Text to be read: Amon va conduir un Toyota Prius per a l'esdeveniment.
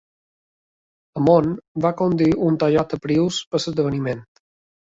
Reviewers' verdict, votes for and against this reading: rejected, 0, 2